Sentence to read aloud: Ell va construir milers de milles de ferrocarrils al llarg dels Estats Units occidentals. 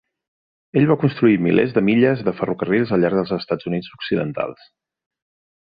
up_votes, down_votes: 2, 0